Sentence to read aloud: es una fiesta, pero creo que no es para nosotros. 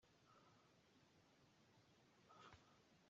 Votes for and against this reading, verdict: 0, 2, rejected